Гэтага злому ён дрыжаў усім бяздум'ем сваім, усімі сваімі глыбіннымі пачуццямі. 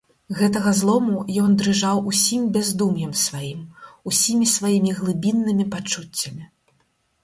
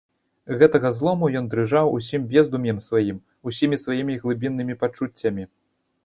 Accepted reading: first